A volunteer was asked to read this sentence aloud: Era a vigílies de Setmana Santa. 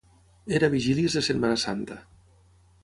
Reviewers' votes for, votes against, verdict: 6, 0, accepted